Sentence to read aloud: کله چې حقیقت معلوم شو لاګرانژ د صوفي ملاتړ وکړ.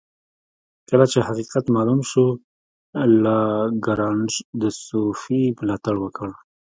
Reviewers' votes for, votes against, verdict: 1, 2, rejected